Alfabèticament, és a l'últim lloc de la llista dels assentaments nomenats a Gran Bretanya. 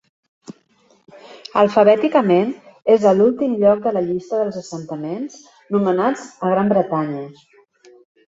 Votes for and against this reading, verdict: 0, 2, rejected